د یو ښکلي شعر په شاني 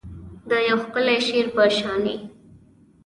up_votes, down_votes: 2, 1